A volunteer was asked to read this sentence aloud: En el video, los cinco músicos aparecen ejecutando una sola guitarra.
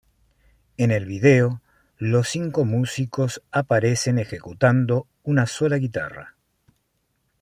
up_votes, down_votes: 2, 0